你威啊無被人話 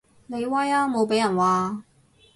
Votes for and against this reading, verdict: 2, 2, rejected